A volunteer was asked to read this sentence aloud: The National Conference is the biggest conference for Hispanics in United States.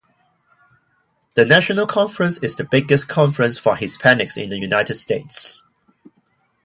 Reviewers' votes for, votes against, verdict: 2, 0, accepted